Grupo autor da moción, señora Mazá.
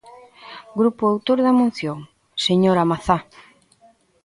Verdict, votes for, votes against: accepted, 2, 1